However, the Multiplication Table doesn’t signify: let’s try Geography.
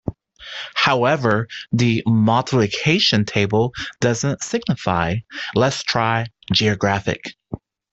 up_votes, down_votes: 0, 2